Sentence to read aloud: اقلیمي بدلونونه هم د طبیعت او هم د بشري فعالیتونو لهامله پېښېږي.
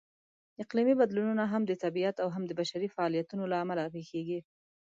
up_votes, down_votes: 2, 0